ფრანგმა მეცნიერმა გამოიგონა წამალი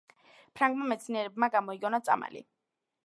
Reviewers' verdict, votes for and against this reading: rejected, 1, 2